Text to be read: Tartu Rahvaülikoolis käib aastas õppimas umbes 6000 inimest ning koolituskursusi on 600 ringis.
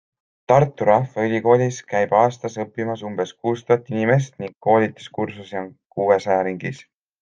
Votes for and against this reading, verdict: 0, 2, rejected